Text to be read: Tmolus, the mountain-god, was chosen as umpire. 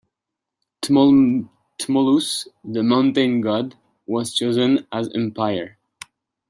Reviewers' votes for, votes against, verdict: 0, 2, rejected